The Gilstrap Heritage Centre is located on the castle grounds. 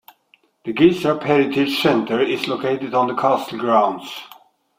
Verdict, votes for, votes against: accepted, 2, 1